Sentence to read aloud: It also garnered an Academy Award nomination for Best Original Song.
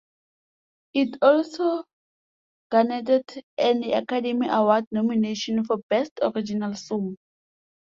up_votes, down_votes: 0, 2